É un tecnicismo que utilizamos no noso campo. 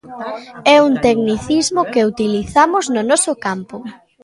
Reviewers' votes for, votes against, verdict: 0, 2, rejected